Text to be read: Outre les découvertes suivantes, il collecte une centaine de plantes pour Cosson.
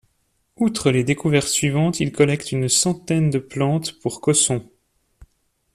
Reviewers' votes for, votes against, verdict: 2, 0, accepted